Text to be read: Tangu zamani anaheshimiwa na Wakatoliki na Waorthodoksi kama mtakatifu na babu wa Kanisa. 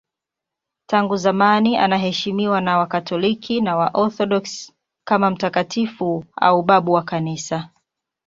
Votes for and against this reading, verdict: 0, 2, rejected